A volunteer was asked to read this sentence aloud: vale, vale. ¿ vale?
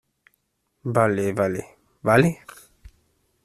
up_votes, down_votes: 2, 0